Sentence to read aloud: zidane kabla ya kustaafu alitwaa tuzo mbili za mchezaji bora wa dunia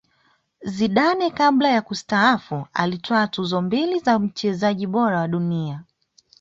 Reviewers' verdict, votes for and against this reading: accepted, 2, 0